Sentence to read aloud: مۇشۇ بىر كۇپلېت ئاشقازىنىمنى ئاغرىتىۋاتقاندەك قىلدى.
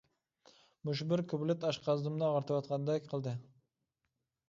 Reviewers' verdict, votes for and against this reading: accepted, 2, 0